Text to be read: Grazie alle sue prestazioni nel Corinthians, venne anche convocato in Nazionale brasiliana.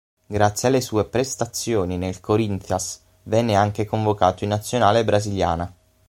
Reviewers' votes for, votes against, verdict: 6, 0, accepted